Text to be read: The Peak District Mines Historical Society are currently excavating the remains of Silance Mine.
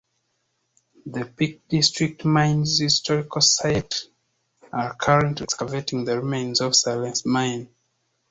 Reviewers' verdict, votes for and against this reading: rejected, 1, 2